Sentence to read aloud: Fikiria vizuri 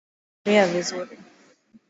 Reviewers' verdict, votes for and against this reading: rejected, 0, 2